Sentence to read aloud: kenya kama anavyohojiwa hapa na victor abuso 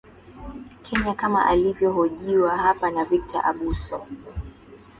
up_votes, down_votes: 2, 0